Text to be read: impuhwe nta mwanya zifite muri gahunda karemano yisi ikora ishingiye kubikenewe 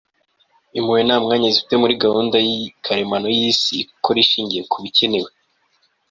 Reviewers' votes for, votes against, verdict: 1, 2, rejected